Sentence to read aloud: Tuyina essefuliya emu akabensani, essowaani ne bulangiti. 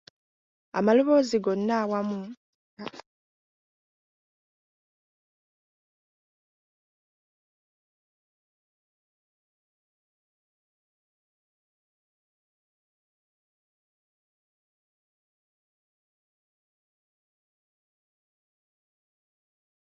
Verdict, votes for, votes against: rejected, 0, 2